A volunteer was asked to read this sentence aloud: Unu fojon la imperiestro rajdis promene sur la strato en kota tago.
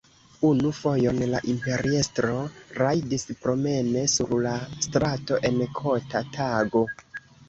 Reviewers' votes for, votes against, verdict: 1, 2, rejected